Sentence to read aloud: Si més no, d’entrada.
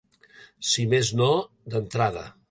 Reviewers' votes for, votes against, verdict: 3, 0, accepted